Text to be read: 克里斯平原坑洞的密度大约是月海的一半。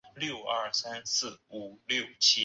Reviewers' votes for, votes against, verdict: 0, 3, rejected